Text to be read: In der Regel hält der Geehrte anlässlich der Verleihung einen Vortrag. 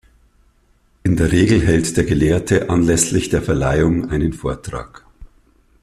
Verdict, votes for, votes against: rejected, 0, 2